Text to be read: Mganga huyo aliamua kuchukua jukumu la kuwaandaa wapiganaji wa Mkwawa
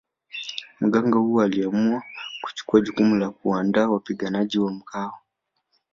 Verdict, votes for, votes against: rejected, 1, 2